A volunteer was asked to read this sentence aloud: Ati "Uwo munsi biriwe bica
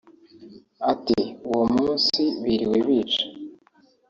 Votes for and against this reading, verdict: 2, 0, accepted